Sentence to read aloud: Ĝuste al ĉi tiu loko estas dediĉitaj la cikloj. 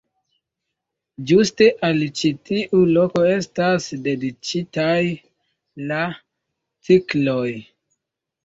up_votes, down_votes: 2, 0